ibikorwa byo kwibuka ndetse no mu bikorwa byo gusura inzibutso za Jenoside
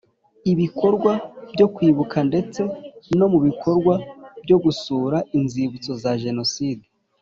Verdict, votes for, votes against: accepted, 3, 0